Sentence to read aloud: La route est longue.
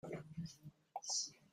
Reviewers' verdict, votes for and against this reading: rejected, 0, 2